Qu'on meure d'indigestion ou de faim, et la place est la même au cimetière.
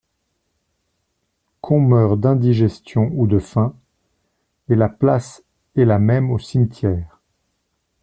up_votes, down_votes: 2, 0